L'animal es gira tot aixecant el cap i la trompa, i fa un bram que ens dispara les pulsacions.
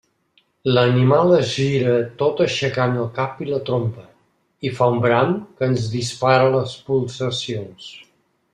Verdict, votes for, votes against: accepted, 2, 0